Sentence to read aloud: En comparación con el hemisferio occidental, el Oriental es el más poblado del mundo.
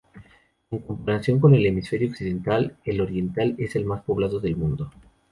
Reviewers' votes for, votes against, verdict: 4, 0, accepted